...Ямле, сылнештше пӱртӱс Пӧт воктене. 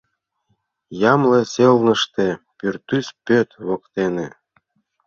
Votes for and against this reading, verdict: 0, 2, rejected